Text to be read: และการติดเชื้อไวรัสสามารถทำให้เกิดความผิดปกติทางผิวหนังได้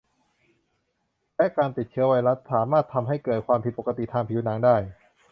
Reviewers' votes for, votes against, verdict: 2, 0, accepted